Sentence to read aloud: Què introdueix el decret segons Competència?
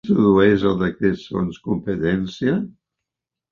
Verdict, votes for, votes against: rejected, 0, 3